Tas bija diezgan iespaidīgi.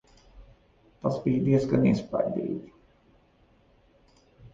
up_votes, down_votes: 1, 2